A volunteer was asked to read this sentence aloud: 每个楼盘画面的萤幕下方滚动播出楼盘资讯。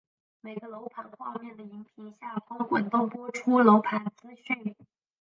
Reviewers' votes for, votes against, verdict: 0, 4, rejected